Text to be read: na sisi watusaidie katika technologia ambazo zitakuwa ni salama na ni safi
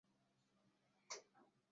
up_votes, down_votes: 0, 2